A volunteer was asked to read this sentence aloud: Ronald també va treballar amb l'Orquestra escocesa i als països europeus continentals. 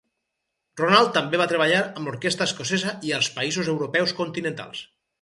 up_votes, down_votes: 0, 4